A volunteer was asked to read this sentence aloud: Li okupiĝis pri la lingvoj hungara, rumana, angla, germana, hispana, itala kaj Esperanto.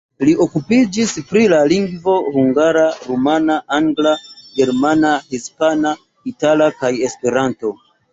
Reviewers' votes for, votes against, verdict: 2, 0, accepted